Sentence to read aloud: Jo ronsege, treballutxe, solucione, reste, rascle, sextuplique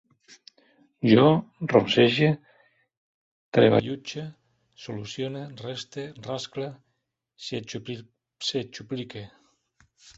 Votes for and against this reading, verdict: 0, 2, rejected